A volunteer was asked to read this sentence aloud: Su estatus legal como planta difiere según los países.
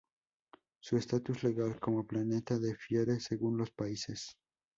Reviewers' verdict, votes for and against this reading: rejected, 0, 2